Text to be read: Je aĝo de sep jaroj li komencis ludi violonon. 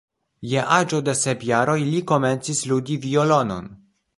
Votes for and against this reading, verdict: 1, 2, rejected